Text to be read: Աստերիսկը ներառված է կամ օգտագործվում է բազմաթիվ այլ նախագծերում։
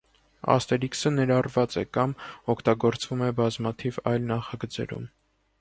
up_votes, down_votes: 1, 2